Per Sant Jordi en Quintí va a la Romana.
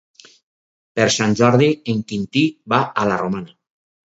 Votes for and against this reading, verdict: 4, 0, accepted